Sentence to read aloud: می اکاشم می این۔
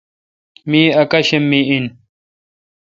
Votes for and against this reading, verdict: 1, 2, rejected